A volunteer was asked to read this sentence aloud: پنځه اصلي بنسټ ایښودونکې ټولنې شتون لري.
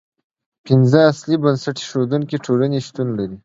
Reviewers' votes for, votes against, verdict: 1, 2, rejected